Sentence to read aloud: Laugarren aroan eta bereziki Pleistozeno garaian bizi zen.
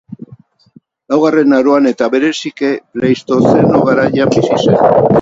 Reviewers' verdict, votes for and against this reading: rejected, 0, 8